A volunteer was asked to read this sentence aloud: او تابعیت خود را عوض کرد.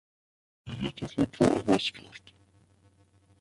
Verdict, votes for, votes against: rejected, 0, 2